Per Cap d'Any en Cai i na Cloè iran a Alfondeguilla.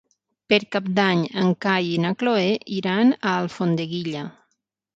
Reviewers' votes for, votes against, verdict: 9, 0, accepted